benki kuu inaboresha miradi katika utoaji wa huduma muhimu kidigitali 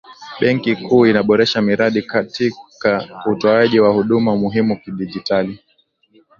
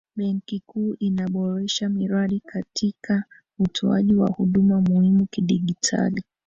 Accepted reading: first